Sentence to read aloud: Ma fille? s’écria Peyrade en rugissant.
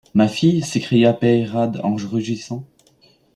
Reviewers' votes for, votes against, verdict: 0, 2, rejected